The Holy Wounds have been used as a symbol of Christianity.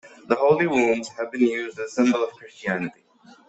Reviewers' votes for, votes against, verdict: 1, 2, rejected